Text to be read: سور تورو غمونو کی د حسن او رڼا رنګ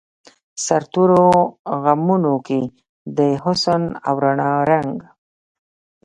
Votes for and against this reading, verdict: 1, 2, rejected